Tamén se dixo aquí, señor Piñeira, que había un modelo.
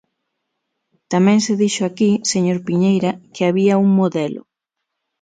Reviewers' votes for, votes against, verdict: 6, 0, accepted